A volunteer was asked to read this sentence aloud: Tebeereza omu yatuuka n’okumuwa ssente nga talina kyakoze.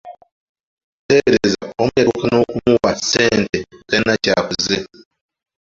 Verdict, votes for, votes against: rejected, 0, 2